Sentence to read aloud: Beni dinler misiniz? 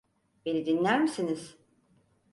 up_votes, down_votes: 4, 0